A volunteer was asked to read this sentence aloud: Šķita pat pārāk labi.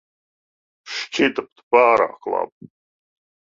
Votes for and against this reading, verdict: 1, 2, rejected